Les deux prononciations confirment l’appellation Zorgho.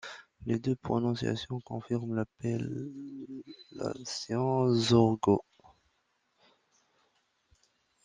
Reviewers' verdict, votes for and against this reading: accepted, 2, 0